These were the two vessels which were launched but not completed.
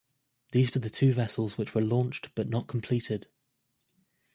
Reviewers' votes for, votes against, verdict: 2, 0, accepted